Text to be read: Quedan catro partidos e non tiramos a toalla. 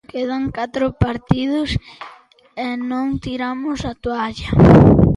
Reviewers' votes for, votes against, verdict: 2, 0, accepted